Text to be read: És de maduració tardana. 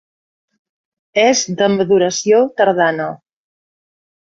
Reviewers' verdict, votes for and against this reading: accepted, 2, 0